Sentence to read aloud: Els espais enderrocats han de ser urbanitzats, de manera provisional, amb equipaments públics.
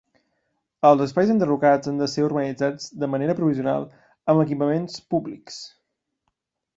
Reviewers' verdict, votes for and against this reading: accepted, 2, 0